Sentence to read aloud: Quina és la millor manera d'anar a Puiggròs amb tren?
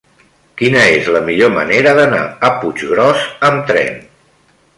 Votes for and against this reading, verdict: 3, 0, accepted